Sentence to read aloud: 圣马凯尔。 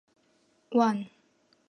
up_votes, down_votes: 2, 1